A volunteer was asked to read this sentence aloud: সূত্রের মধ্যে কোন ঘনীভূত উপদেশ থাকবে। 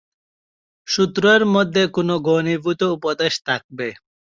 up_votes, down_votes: 0, 2